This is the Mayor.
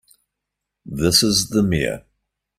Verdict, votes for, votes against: accepted, 2, 0